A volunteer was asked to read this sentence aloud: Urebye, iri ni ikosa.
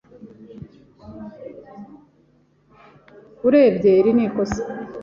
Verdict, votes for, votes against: accepted, 2, 0